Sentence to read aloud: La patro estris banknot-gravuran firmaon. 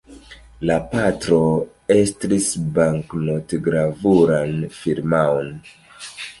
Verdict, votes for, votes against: rejected, 1, 2